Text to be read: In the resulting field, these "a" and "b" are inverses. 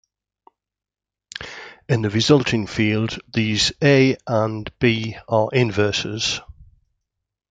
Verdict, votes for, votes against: accepted, 2, 0